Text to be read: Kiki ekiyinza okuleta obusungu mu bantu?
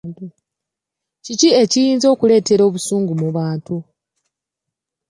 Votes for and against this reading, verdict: 2, 3, rejected